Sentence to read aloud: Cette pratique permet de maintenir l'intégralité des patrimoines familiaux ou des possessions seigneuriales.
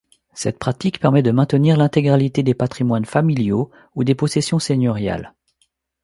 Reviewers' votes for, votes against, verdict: 2, 0, accepted